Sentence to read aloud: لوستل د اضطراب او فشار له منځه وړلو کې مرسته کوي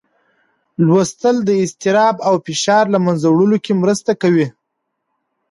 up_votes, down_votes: 2, 0